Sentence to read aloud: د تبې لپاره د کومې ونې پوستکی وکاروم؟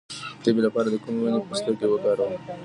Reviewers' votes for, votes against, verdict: 2, 1, accepted